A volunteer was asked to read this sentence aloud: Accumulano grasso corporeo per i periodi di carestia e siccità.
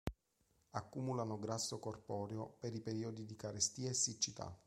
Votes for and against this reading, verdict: 2, 0, accepted